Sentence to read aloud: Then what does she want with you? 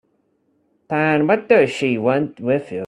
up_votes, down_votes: 0, 2